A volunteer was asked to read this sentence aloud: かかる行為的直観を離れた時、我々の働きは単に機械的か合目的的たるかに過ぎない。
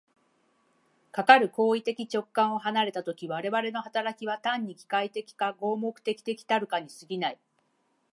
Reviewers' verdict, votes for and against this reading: accepted, 3, 0